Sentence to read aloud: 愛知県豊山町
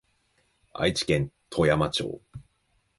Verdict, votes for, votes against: accepted, 2, 1